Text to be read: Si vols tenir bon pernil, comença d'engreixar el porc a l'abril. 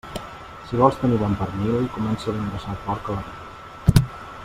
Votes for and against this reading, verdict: 0, 2, rejected